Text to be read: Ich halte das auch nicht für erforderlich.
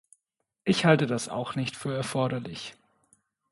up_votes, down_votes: 2, 0